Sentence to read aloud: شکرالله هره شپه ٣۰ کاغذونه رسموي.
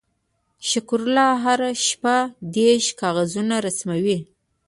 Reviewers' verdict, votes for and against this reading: rejected, 0, 2